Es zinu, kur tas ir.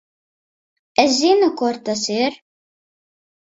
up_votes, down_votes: 4, 0